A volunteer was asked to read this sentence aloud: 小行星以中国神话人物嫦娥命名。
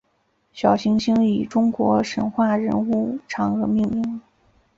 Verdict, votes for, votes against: accepted, 2, 1